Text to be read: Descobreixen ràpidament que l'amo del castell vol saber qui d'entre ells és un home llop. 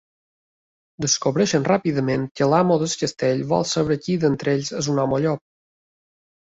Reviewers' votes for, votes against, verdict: 2, 0, accepted